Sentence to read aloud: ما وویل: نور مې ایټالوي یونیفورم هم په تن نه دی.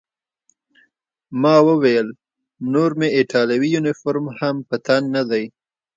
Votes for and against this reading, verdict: 2, 0, accepted